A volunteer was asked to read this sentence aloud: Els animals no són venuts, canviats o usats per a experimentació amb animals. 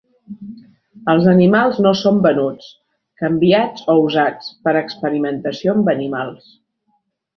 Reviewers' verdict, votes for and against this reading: accepted, 2, 0